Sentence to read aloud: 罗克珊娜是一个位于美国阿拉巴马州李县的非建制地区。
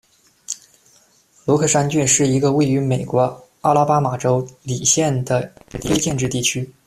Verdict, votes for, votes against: rejected, 0, 2